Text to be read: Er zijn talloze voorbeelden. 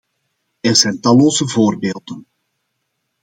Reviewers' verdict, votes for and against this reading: accepted, 2, 0